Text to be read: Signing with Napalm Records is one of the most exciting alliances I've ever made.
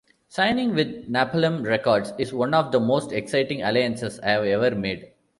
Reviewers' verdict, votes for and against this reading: rejected, 1, 2